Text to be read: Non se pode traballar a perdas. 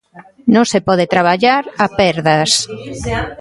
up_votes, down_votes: 2, 1